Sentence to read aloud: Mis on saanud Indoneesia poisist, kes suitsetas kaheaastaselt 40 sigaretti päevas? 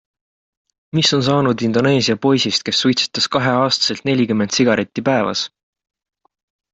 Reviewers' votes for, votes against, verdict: 0, 2, rejected